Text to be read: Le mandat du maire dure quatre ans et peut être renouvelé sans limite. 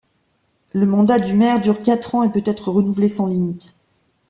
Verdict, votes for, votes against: accepted, 2, 0